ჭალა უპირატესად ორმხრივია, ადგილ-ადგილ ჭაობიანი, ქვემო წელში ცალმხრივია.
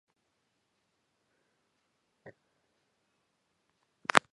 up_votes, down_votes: 0, 2